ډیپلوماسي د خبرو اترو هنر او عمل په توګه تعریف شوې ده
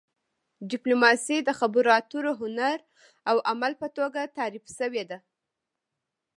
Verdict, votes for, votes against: rejected, 1, 2